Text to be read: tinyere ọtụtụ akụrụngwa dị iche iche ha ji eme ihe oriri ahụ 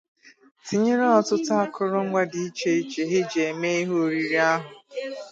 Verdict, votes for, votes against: rejected, 0, 2